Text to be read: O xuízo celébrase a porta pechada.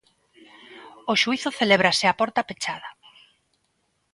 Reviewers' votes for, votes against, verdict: 2, 0, accepted